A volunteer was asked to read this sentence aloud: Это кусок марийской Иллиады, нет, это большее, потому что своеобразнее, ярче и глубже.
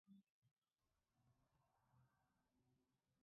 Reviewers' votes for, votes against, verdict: 1, 2, rejected